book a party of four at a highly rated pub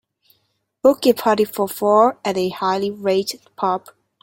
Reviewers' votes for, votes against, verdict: 3, 1, accepted